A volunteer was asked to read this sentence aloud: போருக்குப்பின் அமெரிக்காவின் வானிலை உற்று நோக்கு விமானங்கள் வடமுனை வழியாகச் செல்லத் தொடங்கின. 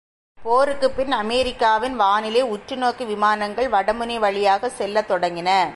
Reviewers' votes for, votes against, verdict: 2, 0, accepted